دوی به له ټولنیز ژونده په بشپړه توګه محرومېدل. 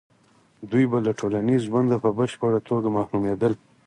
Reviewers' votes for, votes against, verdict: 4, 2, accepted